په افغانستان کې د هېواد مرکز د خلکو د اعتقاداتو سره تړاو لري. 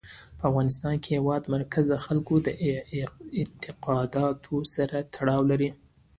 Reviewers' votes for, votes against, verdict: 2, 0, accepted